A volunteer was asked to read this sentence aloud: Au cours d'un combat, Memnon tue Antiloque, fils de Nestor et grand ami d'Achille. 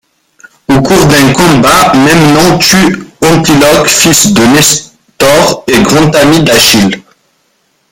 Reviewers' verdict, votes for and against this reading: rejected, 0, 2